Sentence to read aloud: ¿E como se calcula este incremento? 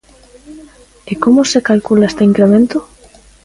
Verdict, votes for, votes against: accepted, 2, 0